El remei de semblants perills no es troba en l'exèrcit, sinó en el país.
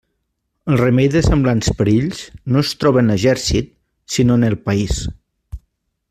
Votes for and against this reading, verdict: 0, 2, rejected